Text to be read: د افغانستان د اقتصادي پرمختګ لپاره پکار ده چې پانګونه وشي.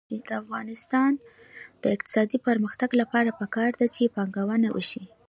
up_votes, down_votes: 1, 2